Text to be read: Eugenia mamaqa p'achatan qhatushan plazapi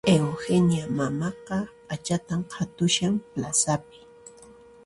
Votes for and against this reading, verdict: 2, 0, accepted